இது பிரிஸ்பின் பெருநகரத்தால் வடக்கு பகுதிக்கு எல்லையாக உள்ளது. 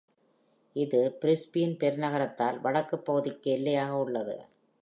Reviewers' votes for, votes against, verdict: 2, 1, accepted